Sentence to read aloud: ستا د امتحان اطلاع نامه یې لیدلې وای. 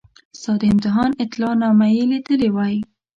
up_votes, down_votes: 2, 0